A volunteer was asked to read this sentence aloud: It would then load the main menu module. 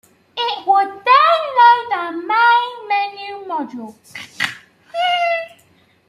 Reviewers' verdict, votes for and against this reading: rejected, 1, 2